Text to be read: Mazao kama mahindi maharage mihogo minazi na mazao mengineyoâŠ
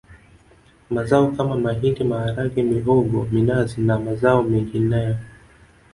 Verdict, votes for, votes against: accepted, 2, 0